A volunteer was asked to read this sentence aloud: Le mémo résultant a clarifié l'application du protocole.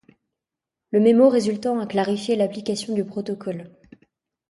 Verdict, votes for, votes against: accepted, 2, 0